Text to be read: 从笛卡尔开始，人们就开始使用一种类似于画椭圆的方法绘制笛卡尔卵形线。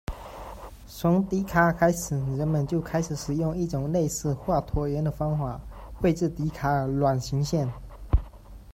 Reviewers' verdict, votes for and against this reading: accepted, 2, 1